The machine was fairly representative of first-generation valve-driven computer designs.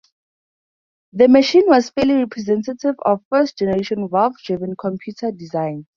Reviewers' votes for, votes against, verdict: 0, 2, rejected